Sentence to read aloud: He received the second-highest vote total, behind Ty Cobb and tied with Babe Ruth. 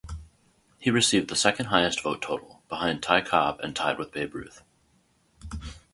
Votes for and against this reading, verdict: 2, 2, rejected